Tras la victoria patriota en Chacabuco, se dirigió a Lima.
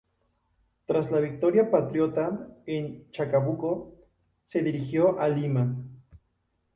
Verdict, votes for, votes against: rejected, 0, 2